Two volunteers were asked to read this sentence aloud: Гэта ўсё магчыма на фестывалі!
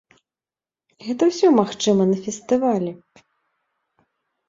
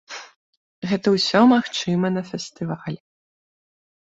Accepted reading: first